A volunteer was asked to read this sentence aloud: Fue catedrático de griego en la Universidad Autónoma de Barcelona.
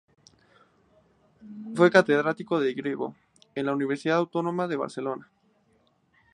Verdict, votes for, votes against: accepted, 2, 0